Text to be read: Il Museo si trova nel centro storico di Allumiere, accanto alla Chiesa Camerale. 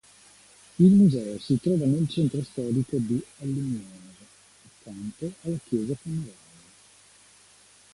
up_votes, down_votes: 2, 1